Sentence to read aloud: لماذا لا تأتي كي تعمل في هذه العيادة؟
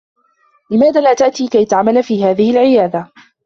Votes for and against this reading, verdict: 2, 0, accepted